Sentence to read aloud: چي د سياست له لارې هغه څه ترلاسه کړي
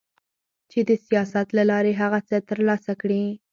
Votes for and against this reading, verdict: 4, 2, accepted